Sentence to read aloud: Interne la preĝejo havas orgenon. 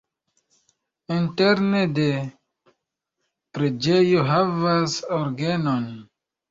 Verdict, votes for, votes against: rejected, 2, 3